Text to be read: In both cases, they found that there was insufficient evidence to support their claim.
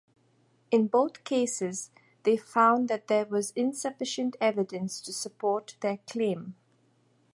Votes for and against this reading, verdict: 2, 0, accepted